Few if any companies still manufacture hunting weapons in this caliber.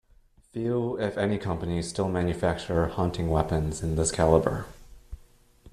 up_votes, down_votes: 2, 0